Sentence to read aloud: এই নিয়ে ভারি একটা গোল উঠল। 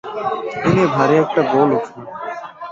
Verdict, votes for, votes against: rejected, 0, 5